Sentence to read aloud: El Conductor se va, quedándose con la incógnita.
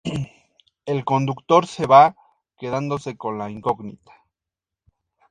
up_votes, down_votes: 2, 0